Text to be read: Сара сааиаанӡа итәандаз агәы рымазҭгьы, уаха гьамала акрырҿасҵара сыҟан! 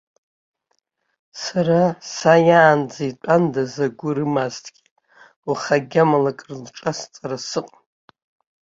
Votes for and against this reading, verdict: 0, 2, rejected